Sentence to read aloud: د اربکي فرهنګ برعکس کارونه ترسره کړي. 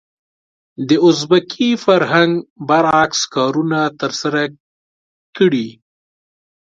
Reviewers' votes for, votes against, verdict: 2, 0, accepted